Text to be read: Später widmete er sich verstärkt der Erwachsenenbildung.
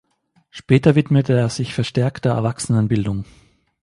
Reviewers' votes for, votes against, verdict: 2, 0, accepted